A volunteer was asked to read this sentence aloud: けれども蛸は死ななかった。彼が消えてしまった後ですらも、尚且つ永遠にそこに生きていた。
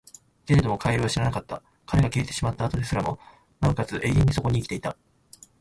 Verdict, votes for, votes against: rejected, 0, 2